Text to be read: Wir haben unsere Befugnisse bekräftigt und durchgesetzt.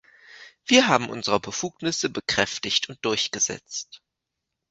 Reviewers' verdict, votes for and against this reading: accepted, 2, 0